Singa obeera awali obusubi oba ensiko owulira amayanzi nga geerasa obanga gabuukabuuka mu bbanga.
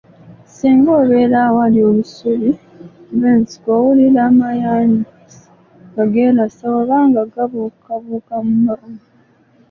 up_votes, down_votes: 1, 3